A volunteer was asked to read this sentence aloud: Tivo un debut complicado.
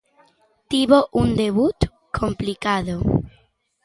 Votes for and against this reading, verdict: 2, 0, accepted